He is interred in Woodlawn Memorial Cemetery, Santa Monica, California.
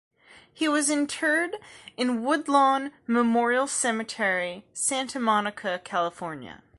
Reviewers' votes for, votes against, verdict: 1, 2, rejected